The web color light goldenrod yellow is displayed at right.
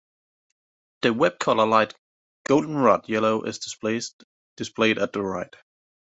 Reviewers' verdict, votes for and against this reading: rejected, 1, 2